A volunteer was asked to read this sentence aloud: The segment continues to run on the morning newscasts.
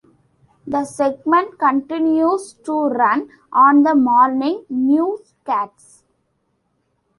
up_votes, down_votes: 2, 0